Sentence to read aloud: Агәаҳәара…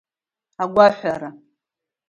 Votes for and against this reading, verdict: 2, 0, accepted